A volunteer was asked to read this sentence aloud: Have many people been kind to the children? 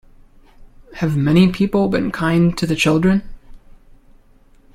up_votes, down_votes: 2, 0